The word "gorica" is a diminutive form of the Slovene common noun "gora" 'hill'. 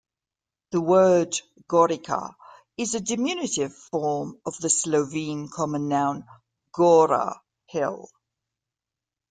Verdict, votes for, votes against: accepted, 2, 0